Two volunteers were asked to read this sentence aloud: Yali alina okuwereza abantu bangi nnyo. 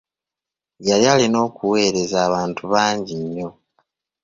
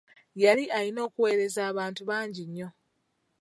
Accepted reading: first